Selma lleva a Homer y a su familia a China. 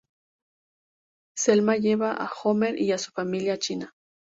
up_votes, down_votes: 2, 0